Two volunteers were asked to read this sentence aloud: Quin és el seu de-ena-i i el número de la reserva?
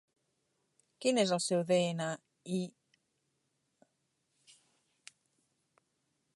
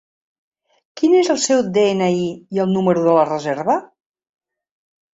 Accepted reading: second